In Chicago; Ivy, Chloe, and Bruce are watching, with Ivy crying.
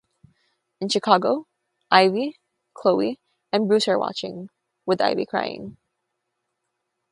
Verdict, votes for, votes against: accepted, 3, 0